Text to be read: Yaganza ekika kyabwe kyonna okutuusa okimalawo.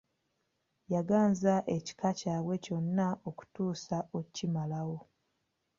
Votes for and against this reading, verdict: 2, 0, accepted